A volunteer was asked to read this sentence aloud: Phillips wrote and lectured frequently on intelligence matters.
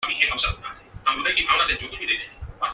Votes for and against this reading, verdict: 0, 2, rejected